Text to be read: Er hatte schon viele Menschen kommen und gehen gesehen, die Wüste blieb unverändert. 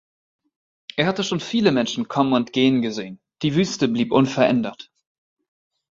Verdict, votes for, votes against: accepted, 3, 0